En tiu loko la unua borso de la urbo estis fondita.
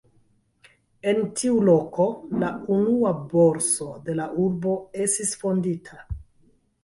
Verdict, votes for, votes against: rejected, 0, 2